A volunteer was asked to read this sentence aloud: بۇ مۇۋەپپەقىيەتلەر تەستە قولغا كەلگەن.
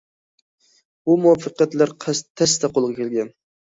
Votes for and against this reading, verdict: 0, 2, rejected